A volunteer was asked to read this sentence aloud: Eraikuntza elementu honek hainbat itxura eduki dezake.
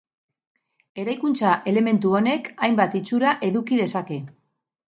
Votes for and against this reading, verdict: 0, 2, rejected